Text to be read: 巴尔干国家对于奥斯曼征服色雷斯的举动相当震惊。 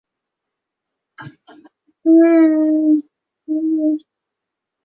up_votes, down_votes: 1, 3